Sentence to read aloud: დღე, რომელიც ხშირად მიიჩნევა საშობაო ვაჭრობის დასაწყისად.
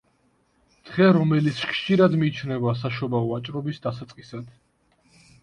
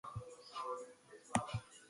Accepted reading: first